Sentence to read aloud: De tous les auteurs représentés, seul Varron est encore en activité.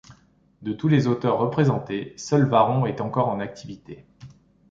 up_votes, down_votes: 2, 0